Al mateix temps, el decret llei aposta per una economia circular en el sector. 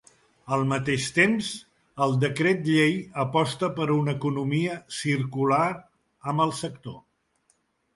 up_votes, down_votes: 2, 1